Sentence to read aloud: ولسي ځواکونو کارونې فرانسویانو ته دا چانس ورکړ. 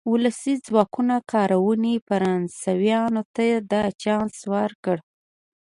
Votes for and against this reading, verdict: 2, 0, accepted